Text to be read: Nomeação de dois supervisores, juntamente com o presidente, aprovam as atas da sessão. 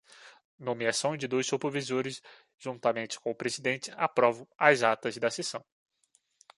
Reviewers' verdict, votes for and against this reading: rejected, 1, 2